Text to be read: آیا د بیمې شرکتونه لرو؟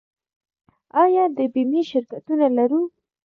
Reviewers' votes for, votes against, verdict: 2, 0, accepted